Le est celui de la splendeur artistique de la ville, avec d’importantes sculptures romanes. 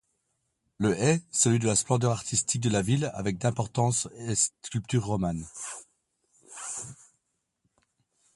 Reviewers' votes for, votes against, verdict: 1, 2, rejected